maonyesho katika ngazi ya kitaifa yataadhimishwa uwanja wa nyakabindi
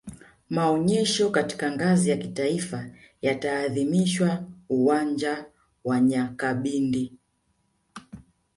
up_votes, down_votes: 2, 1